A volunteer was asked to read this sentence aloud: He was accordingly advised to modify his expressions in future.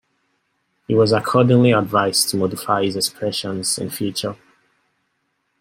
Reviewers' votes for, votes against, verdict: 2, 0, accepted